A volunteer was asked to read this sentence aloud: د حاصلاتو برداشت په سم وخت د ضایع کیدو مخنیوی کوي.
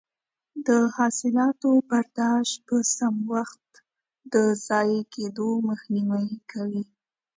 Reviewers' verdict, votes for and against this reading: accepted, 2, 0